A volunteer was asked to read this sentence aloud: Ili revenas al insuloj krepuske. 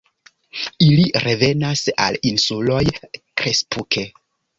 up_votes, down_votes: 0, 2